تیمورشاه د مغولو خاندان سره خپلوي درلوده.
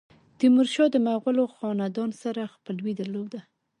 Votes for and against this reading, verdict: 0, 2, rejected